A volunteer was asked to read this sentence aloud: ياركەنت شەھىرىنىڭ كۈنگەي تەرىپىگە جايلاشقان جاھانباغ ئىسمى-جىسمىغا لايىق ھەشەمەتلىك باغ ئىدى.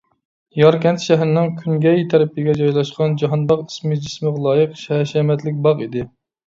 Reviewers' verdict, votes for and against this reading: rejected, 1, 2